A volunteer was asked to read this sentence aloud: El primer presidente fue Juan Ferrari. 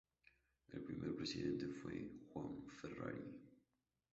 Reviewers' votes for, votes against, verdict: 2, 2, rejected